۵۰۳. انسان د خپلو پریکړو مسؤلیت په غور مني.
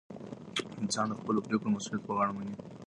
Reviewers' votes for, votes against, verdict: 0, 2, rejected